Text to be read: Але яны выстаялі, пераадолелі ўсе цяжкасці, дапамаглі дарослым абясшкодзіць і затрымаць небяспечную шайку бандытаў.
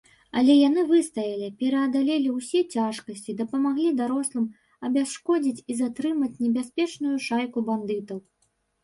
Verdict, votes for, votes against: rejected, 0, 3